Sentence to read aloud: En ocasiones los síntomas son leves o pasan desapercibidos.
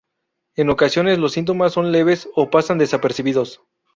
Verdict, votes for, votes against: rejected, 0, 2